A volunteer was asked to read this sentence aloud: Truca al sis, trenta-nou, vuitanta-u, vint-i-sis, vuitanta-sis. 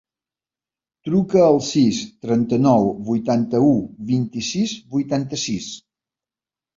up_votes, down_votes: 2, 0